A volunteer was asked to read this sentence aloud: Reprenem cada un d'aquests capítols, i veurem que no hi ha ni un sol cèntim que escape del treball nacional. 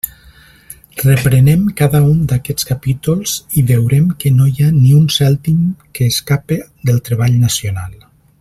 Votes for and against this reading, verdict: 0, 2, rejected